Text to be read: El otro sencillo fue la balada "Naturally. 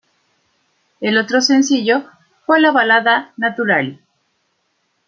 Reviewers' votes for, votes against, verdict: 1, 2, rejected